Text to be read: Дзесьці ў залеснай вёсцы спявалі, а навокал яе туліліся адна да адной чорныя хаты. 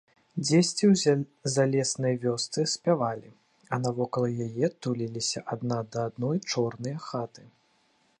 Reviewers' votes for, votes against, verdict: 1, 2, rejected